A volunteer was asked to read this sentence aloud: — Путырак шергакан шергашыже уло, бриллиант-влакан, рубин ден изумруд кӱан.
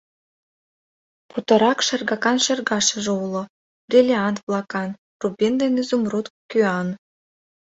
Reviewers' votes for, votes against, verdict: 2, 0, accepted